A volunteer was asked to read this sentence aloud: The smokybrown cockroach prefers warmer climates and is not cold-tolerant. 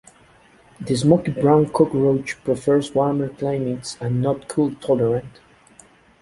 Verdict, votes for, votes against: rejected, 0, 2